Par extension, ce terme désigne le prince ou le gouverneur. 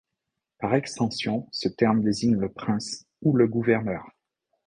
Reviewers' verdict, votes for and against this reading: accepted, 2, 0